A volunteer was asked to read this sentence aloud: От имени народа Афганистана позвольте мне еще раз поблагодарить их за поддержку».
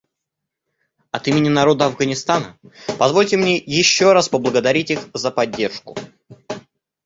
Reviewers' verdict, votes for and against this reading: accepted, 2, 0